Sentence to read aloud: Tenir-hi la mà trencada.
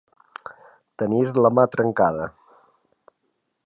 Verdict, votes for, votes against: rejected, 1, 2